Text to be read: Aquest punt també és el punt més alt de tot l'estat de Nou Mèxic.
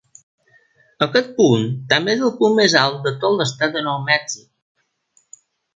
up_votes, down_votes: 3, 0